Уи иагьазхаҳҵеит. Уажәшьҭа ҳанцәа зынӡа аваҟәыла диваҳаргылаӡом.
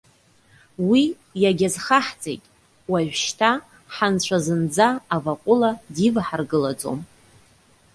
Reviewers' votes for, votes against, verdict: 2, 0, accepted